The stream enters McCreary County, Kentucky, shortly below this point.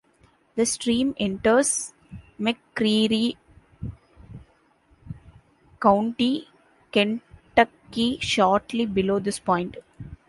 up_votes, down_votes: 2, 1